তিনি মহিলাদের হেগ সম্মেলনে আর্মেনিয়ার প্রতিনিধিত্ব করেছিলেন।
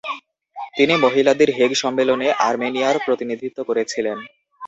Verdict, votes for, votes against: accepted, 2, 0